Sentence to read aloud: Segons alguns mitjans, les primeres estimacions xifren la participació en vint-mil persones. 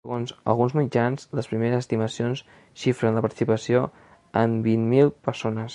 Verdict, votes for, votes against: accepted, 2, 0